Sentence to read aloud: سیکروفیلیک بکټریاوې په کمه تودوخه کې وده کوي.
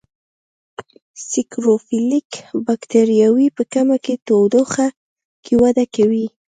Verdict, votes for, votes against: accepted, 2, 0